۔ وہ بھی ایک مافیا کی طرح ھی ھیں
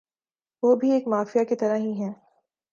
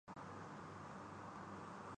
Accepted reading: first